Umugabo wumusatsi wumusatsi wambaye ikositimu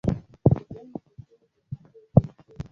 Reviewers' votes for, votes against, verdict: 0, 2, rejected